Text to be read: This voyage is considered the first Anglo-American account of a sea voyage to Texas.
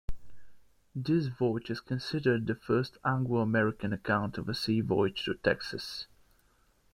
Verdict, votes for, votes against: accepted, 2, 0